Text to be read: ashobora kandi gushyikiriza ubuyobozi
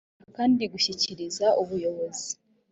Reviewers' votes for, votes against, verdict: 1, 2, rejected